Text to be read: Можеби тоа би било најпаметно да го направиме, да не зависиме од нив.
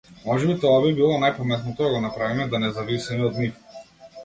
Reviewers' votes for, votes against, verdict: 0, 2, rejected